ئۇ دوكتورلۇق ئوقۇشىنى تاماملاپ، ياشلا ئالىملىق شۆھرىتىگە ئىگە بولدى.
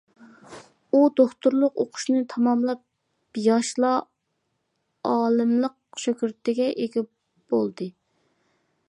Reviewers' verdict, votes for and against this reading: rejected, 0, 2